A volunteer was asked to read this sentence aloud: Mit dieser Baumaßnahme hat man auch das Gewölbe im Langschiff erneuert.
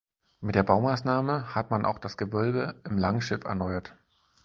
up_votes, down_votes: 0, 4